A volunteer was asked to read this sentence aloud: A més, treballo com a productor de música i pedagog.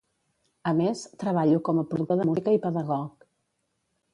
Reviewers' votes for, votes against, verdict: 0, 2, rejected